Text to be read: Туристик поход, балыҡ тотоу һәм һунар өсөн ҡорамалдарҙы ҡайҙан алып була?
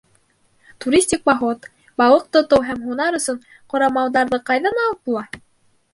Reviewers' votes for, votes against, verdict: 2, 0, accepted